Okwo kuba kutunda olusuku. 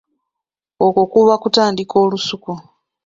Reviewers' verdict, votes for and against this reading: rejected, 1, 2